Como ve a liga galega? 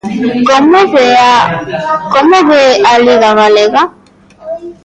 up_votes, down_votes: 1, 2